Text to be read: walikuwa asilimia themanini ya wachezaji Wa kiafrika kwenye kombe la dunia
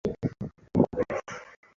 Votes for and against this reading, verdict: 0, 2, rejected